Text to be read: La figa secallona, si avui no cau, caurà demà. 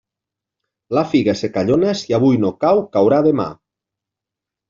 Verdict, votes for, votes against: accepted, 2, 0